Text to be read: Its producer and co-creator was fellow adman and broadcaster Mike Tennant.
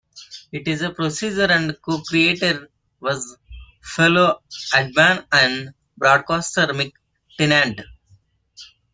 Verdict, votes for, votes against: rejected, 0, 2